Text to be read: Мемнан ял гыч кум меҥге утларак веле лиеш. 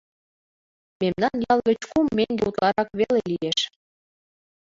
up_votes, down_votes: 0, 2